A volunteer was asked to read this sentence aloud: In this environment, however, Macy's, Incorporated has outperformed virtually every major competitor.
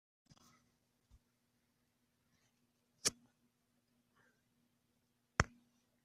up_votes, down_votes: 0, 2